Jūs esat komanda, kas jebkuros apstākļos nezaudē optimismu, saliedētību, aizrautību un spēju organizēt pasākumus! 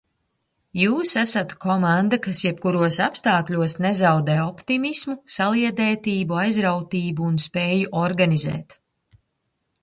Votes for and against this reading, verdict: 0, 2, rejected